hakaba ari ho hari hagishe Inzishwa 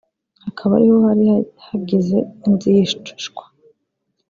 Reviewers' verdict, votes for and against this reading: rejected, 0, 2